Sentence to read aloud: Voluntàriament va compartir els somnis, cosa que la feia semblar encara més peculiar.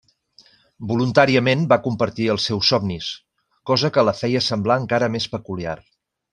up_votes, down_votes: 0, 2